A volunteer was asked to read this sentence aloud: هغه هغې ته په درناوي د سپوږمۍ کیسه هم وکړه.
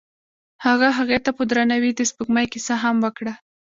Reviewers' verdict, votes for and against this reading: rejected, 1, 2